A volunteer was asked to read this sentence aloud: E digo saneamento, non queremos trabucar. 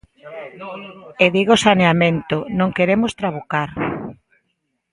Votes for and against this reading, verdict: 1, 2, rejected